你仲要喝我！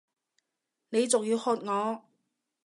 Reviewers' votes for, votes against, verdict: 2, 0, accepted